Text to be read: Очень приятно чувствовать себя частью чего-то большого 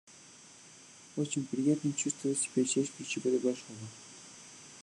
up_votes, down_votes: 1, 2